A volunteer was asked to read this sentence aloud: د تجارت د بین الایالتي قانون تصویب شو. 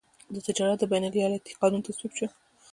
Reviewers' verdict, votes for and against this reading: rejected, 0, 2